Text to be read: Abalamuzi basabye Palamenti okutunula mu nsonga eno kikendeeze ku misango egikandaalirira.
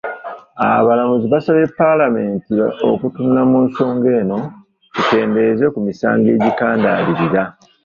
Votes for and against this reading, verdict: 0, 2, rejected